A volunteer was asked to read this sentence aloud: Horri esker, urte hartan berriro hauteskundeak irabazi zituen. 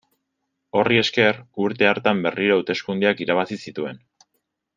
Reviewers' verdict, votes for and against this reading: accepted, 2, 0